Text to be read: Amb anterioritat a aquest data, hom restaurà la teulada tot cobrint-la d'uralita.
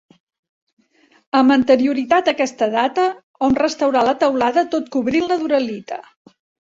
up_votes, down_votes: 2, 0